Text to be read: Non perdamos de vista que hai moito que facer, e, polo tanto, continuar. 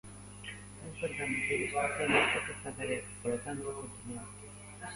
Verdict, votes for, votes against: rejected, 0, 2